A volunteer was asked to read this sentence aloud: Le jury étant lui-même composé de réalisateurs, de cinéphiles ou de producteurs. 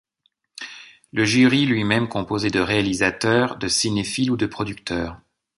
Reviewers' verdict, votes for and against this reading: rejected, 1, 2